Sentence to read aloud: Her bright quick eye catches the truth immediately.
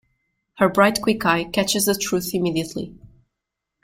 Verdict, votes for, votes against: rejected, 1, 2